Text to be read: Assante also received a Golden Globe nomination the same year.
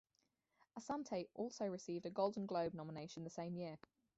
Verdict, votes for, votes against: rejected, 0, 4